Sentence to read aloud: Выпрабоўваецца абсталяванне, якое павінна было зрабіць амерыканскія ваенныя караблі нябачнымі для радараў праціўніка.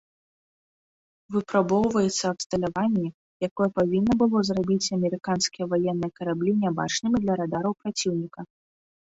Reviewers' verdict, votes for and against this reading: accepted, 2, 0